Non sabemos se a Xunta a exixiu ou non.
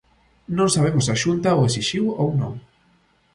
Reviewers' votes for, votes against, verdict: 1, 2, rejected